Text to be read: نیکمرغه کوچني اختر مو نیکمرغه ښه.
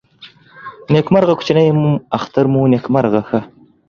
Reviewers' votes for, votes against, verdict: 1, 2, rejected